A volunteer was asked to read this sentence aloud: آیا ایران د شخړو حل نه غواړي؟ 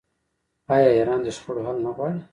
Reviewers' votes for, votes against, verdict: 2, 1, accepted